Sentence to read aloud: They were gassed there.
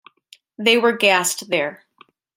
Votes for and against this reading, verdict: 2, 1, accepted